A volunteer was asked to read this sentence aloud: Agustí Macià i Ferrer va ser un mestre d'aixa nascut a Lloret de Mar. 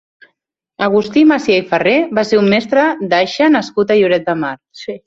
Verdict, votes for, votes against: rejected, 0, 2